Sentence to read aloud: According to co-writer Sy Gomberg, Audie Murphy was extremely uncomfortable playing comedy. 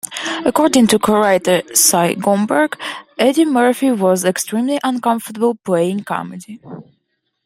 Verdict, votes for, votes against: accepted, 2, 0